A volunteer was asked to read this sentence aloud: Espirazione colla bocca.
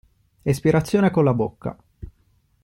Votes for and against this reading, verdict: 2, 0, accepted